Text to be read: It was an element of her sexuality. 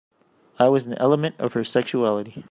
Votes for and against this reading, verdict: 0, 2, rejected